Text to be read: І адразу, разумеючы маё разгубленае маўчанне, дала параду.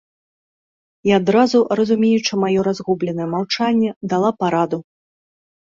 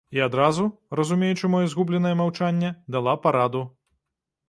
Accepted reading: first